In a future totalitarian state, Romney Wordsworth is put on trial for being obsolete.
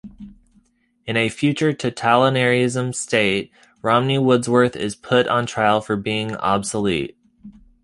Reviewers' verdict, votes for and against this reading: rejected, 0, 2